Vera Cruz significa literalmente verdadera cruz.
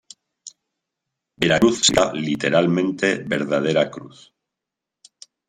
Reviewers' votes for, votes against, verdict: 0, 3, rejected